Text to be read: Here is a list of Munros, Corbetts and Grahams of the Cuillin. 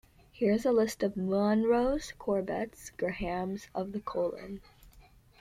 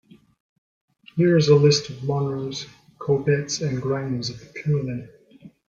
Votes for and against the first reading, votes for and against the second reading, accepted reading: 1, 2, 2, 0, second